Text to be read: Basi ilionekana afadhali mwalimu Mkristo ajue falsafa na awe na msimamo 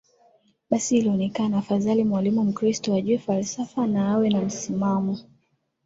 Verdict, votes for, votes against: accepted, 2, 1